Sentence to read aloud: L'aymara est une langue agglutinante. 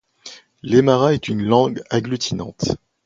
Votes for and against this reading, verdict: 2, 0, accepted